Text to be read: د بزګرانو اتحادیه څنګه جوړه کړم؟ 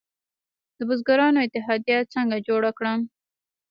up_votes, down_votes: 1, 2